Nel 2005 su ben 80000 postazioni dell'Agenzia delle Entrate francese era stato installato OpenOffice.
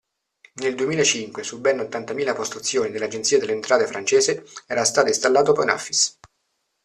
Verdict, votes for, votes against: rejected, 0, 2